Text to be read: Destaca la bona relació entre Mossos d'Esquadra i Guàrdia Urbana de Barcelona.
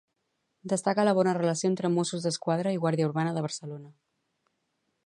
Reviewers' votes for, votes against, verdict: 2, 2, rejected